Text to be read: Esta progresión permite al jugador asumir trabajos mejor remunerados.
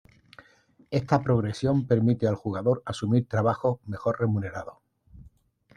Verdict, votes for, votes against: accepted, 2, 0